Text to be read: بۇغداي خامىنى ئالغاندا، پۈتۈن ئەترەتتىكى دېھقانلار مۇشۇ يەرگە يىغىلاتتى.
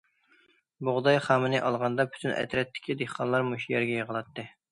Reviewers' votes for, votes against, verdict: 2, 0, accepted